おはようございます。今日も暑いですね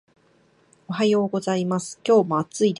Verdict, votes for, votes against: rejected, 1, 2